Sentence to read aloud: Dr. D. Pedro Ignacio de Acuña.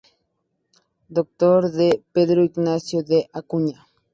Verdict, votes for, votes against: accepted, 2, 0